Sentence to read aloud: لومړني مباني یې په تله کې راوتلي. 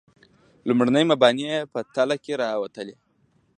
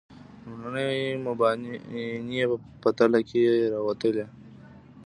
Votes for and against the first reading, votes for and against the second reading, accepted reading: 2, 0, 1, 2, first